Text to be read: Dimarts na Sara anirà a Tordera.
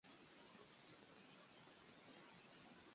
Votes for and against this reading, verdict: 0, 2, rejected